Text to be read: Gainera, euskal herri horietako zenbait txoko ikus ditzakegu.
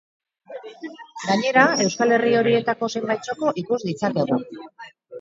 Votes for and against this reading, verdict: 4, 0, accepted